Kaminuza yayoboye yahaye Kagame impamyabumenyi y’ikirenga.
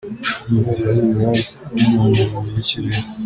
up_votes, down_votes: 0, 2